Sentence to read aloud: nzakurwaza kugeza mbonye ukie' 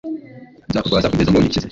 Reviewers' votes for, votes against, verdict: 1, 2, rejected